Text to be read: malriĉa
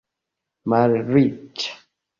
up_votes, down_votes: 1, 2